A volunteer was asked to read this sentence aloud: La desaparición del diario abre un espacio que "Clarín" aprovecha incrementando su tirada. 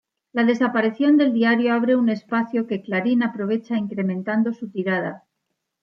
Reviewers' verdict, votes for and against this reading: accepted, 2, 0